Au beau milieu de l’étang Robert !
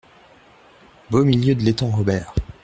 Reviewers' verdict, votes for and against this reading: rejected, 0, 2